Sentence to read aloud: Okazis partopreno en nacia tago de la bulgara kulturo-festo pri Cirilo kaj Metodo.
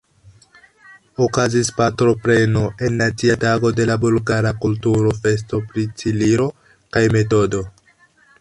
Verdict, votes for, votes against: rejected, 1, 2